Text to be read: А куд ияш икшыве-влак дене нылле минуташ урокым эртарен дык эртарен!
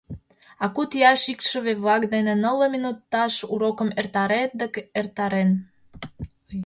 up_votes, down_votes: 0, 2